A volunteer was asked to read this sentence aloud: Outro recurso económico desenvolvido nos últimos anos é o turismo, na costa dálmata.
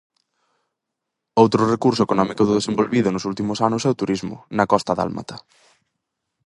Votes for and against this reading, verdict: 2, 2, rejected